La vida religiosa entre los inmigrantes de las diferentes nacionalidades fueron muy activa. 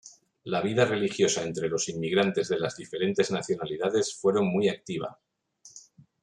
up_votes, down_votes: 0, 2